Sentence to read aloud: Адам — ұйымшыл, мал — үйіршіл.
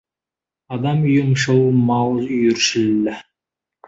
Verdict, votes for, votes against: rejected, 1, 2